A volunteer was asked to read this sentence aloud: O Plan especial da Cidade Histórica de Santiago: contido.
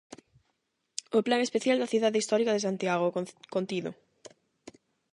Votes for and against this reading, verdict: 0, 8, rejected